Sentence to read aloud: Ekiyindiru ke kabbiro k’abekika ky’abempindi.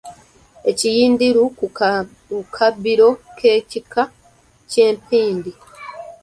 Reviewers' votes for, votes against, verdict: 0, 2, rejected